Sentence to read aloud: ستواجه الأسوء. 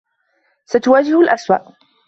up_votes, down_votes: 2, 0